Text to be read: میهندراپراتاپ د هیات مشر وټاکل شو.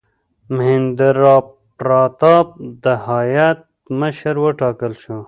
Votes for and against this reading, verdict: 1, 2, rejected